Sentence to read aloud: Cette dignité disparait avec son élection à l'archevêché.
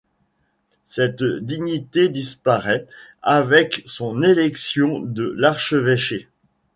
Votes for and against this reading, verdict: 1, 2, rejected